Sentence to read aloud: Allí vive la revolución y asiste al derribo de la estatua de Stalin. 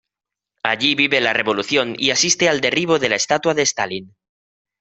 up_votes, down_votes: 2, 0